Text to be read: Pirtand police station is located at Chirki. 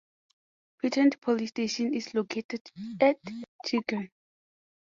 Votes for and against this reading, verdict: 2, 0, accepted